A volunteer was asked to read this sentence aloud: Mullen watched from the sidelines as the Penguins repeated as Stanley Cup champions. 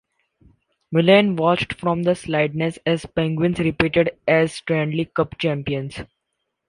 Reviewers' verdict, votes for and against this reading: rejected, 0, 2